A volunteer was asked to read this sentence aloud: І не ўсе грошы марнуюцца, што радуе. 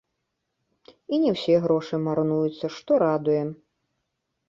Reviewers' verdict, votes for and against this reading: accepted, 2, 0